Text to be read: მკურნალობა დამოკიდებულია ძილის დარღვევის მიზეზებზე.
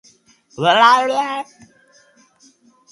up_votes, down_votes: 0, 2